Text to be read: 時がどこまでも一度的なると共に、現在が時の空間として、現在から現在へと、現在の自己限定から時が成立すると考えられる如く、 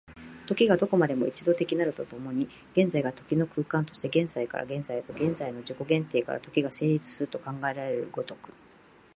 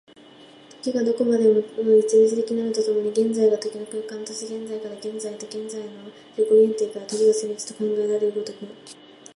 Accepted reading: first